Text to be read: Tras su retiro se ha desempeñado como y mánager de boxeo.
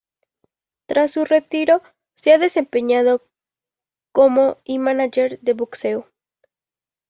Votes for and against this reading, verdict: 2, 1, accepted